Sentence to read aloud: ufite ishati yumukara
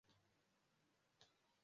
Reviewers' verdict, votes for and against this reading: rejected, 0, 2